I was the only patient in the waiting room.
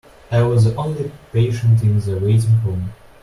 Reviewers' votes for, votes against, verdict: 1, 2, rejected